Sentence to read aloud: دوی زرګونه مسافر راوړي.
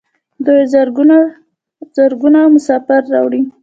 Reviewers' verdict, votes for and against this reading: accepted, 2, 1